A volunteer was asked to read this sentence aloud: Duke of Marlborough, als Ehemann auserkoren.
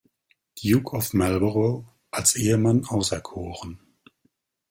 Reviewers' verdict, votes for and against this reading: rejected, 0, 2